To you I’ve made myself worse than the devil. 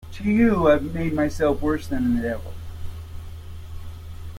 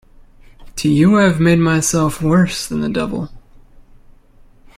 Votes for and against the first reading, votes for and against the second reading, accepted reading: 0, 2, 2, 0, second